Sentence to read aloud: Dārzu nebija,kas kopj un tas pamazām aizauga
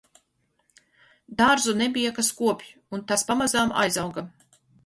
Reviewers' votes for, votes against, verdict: 4, 0, accepted